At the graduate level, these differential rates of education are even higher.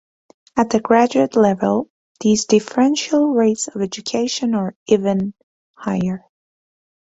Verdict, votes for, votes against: accepted, 2, 0